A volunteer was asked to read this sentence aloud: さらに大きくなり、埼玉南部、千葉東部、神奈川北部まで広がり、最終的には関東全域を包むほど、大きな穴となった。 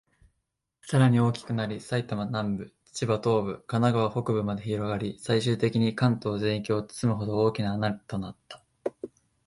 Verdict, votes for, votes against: rejected, 0, 2